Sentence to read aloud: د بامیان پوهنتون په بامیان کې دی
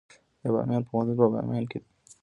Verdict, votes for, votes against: rejected, 2, 3